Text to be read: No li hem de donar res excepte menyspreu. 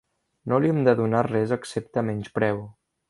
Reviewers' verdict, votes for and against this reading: accepted, 2, 0